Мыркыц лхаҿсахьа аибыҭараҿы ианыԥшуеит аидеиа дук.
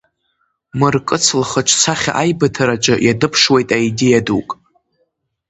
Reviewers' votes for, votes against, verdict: 2, 0, accepted